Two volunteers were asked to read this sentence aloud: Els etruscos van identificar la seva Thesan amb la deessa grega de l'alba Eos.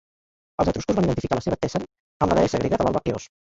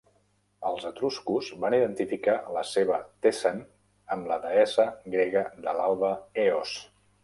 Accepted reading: second